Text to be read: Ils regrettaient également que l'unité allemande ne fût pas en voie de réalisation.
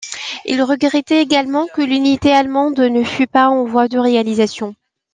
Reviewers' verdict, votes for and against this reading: accepted, 2, 0